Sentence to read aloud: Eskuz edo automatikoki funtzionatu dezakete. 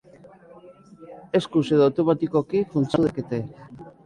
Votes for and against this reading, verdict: 1, 2, rejected